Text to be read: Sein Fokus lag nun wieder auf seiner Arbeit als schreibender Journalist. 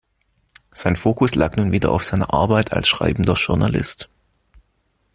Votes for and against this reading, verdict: 2, 0, accepted